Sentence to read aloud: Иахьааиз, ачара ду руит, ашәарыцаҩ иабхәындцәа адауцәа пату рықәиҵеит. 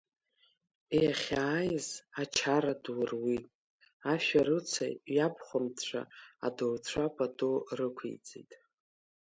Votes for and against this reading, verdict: 3, 0, accepted